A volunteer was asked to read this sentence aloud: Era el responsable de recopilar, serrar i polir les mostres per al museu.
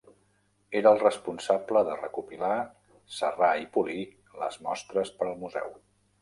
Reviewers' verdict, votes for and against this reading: accepted, 3, 1